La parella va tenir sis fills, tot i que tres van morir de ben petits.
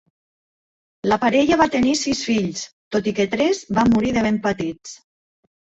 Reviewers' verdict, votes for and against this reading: rejected, 0, 2